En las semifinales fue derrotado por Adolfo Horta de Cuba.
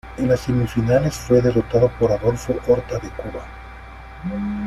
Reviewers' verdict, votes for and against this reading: accepted, 2, 1